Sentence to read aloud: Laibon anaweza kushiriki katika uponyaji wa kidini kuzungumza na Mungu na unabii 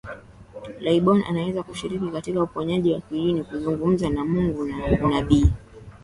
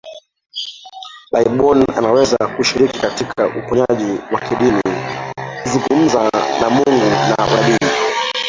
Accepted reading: first